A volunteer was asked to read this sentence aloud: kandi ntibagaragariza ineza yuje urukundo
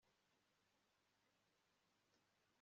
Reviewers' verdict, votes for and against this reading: rejected, 1, 2